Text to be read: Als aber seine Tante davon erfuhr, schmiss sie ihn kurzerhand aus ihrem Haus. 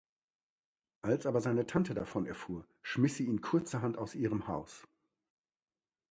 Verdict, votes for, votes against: accepted, 2, 0